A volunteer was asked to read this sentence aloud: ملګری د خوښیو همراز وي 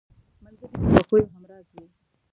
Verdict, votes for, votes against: accepted, 2, 1